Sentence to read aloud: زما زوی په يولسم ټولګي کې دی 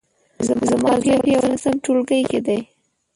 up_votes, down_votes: 0, 2